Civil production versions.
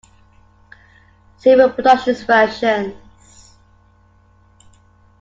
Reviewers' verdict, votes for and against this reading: rejected, 0, 2